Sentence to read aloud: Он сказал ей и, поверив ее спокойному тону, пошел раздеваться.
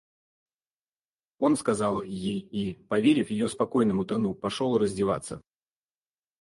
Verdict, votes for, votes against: rejected, 2, 4